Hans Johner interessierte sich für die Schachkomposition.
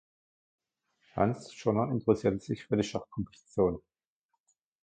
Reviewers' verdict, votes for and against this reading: rejected, 0, 2